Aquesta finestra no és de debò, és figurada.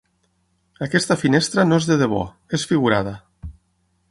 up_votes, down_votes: 9, 0